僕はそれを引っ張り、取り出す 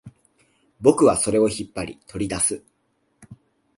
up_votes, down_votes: 2, 0